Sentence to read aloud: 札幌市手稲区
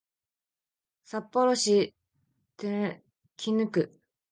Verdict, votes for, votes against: rejected, 0, 2